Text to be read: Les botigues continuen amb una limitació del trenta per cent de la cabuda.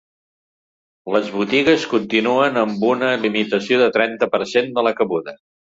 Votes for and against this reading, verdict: 0, 2, rejected